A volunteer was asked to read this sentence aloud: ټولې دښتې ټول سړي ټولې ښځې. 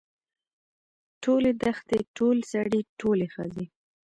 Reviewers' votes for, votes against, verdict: 1, 2, rejected